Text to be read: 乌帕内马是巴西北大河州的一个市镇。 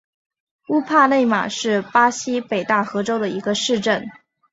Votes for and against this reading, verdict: 2, 0, accepted